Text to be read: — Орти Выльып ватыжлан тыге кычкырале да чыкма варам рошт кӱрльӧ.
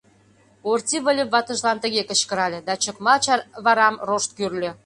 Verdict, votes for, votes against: rejected, 0, 2